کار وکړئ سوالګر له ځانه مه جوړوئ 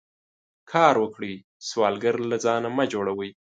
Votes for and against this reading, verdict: 2, 0, accepted